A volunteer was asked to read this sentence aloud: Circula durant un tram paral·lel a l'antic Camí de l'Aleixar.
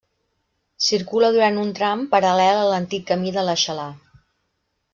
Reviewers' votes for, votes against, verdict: 0, 2, rejected